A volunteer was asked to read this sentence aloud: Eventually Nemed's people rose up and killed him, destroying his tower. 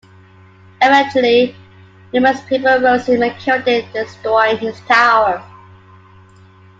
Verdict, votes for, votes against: rejected, 1, 2